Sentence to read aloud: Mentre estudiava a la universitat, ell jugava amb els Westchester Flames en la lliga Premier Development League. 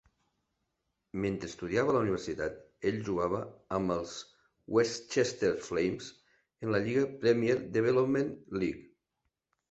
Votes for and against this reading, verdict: 1, 2, rejected